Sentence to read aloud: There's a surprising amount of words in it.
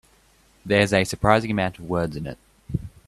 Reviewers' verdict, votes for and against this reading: accepted, 2, 0